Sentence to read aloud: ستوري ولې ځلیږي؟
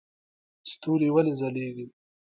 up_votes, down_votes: 0, 2